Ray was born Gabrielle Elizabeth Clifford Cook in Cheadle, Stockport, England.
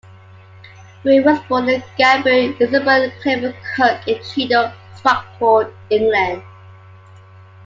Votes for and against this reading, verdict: 0, 2, rejected